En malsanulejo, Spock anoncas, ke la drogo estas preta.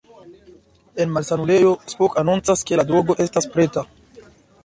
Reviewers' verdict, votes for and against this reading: accepted, 2, 0